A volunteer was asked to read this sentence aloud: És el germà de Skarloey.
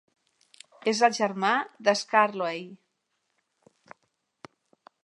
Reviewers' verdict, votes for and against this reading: accepted, 3, 0